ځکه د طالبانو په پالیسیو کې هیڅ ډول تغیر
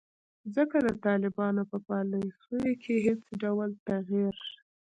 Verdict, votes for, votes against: rejected, 0, 2